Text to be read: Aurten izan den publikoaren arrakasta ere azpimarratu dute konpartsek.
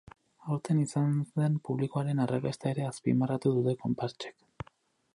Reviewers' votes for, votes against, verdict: 2, 4, rejected